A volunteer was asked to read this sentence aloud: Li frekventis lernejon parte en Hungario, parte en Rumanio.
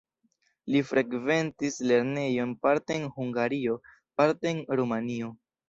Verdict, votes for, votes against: accepted, 2, 0